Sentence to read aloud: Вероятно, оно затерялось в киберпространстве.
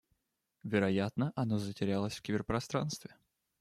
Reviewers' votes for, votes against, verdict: 1, 2, rejected